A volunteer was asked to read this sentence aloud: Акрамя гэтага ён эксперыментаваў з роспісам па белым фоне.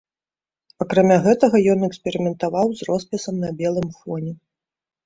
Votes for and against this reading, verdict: 0, 2, rejected